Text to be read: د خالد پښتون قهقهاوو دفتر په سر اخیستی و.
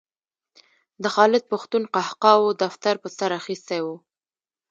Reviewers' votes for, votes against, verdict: 2, 0, accepted